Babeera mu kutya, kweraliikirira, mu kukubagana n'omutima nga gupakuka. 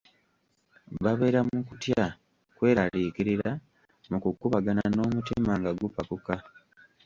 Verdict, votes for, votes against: rejected, 1, 2